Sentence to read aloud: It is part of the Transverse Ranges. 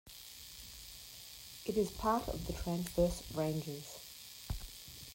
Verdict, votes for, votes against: accepted, 2, 0